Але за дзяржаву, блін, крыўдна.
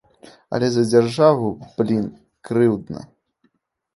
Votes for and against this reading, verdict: 2, 0, accepted